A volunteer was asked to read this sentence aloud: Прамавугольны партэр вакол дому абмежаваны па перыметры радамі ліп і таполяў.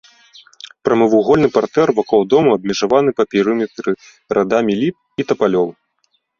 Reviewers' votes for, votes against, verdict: 2, 3, rejected